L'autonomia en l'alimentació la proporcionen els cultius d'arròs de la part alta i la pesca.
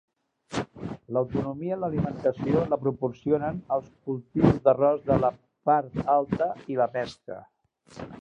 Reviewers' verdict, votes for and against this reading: rejected, 0, 2